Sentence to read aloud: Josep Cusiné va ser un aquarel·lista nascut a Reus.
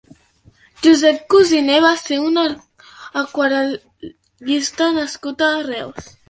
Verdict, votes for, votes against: rejected, 1, 2